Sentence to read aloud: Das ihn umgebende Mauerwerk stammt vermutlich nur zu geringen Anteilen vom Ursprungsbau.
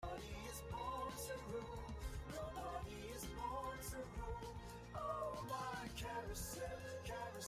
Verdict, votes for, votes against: rejected, 0, 2